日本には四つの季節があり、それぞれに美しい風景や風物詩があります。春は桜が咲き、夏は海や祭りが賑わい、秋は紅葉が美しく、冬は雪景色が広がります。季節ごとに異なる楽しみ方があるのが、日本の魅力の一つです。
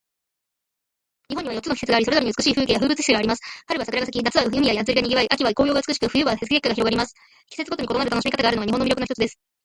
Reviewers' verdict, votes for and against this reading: accepted, 2, 1